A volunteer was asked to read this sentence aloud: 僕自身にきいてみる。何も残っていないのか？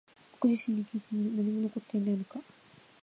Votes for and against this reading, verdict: 1, 2, rejected